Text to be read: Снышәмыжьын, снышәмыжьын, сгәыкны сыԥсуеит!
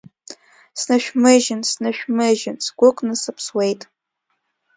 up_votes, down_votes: 2, 0